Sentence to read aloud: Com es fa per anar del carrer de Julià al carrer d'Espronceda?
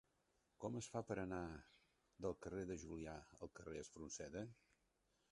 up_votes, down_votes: 1, 2